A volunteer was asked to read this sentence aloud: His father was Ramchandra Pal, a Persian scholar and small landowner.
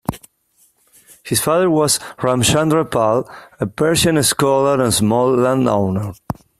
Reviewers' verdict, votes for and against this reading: accepted, 2, 0